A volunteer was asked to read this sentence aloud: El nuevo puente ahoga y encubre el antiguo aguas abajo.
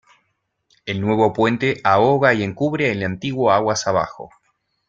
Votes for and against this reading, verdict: 2, 0, accepted